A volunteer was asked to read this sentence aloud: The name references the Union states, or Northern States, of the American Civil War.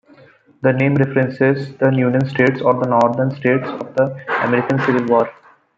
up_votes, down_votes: 0, 2